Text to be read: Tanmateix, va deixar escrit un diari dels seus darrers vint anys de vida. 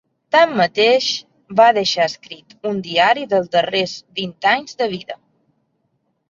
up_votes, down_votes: 0, 3